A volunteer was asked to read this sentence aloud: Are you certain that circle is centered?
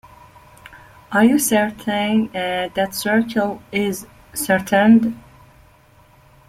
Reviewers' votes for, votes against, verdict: 0, 2, rejected